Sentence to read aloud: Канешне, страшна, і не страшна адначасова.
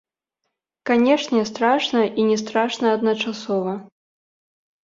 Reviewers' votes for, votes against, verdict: 2, 0, accepted